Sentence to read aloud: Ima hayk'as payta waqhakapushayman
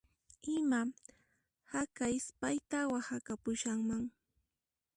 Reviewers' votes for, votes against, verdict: 1, 2, rejected